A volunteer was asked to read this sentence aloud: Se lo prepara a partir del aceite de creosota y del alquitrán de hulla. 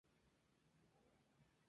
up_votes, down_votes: 0, 4